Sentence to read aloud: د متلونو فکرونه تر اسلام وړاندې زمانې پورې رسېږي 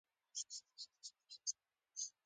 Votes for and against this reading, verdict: 0, 2, rejected